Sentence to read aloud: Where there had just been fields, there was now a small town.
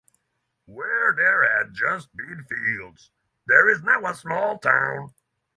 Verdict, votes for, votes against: rejected, 3, 6